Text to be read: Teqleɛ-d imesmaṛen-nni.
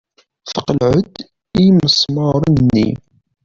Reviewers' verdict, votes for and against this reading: rejected, 1, 2